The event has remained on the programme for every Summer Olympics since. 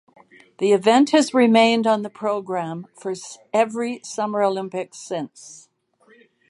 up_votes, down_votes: 2, 2